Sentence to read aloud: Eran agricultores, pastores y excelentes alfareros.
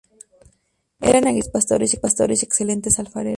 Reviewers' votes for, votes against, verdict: 0, 2, rejected